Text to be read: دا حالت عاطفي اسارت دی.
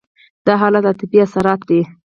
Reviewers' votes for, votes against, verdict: 2, 4, rejected